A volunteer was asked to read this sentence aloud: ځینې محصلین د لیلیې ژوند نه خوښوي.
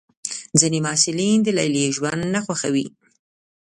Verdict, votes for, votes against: accepted, 2, 0